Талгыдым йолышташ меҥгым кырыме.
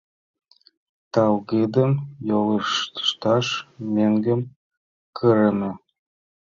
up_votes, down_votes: 0, 2